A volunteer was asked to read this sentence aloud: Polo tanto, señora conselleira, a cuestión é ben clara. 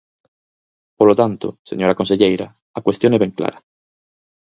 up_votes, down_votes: 4, 0